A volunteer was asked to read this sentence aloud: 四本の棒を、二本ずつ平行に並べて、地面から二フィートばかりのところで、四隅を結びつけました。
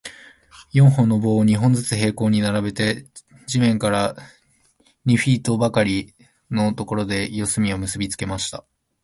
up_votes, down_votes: 2, 0